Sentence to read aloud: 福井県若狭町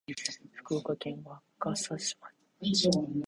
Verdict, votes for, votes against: rejected, 1, 2